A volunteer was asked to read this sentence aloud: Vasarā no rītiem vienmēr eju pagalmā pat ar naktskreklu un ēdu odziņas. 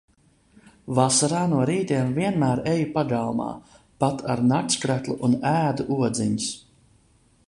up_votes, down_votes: 2, 0